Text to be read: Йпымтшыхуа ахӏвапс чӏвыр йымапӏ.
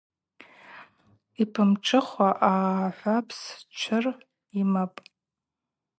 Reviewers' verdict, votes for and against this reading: rejected, 0, 2